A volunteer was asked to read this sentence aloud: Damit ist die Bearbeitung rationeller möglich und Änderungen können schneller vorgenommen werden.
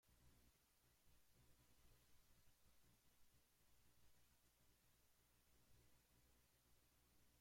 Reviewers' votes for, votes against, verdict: 0, 2, rejected